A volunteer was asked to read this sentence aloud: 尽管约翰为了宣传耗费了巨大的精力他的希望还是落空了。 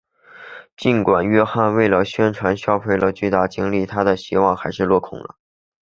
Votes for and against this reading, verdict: 0, 2, rejected